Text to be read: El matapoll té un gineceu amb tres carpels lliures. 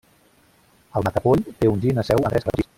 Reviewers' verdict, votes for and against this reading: rejected, 0, 2